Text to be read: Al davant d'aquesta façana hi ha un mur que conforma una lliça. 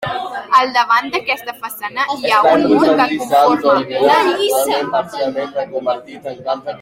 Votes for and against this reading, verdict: 1, 2, rejected